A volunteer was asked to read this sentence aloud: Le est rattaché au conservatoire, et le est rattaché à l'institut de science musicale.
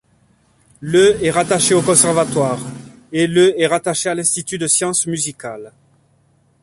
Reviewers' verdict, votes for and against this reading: accepted, 2, 0